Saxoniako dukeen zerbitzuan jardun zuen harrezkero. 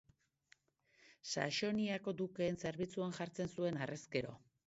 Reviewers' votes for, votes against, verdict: 2, 1, accepted